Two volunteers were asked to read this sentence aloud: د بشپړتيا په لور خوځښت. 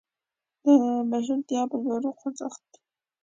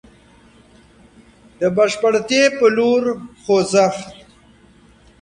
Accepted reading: second